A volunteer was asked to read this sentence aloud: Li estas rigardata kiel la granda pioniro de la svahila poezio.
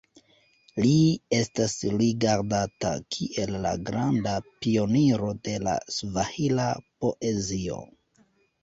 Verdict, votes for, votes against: accepted, 2, 0